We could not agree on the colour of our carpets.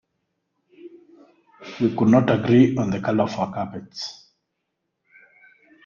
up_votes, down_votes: 2, 1